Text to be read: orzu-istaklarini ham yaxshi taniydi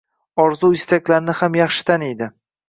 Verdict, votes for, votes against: rejected, 1, 2